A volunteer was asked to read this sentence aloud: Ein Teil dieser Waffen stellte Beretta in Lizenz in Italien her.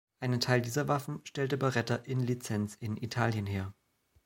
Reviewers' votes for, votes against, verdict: 2, 0, accepted